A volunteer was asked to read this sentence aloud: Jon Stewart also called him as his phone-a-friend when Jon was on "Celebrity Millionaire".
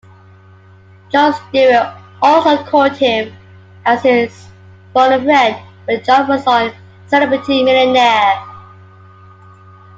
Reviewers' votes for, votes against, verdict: 2, 1, accepted